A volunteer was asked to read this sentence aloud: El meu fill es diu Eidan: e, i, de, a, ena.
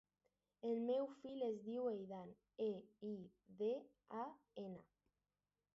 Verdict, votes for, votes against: accepted, 2, 0